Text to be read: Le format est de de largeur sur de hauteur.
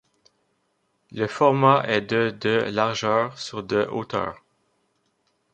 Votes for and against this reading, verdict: 2, 1, accepted